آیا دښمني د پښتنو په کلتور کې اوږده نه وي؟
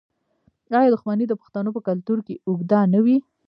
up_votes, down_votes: 1, 2